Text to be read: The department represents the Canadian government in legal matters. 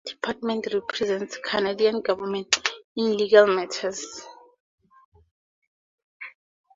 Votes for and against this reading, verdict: 2, 2, rejected